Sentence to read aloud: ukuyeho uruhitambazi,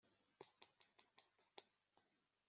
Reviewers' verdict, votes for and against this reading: rejected, 1, 2